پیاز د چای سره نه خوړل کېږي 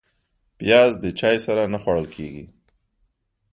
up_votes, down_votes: 2, 0